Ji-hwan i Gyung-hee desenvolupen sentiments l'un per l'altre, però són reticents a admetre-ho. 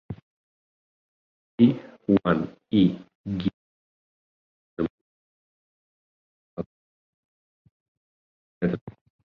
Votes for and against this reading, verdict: 0, 4, rejected